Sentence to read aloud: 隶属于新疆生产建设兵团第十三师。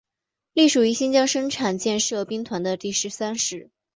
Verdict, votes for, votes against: accepted, 2, 0